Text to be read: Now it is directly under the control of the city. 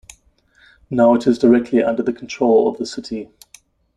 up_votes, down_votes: 2, 0